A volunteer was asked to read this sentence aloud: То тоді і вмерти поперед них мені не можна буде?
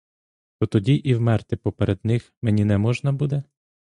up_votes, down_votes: 0, 2